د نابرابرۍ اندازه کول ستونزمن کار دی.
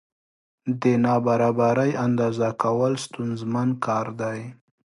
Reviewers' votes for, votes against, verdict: 4, 0, accepted